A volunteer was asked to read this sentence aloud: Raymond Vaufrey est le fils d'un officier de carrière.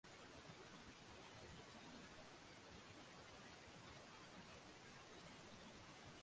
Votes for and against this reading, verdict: 0, 2, rejected